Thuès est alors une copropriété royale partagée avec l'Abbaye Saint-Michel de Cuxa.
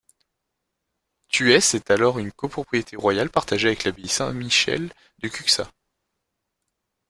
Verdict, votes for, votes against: accepted, 2, 1